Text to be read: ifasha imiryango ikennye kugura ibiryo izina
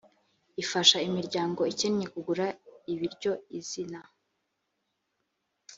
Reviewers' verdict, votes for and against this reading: accepted, 2, 0